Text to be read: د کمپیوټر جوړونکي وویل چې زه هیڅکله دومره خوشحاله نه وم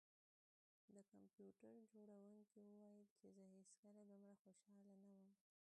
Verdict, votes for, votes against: rejected, 1, 2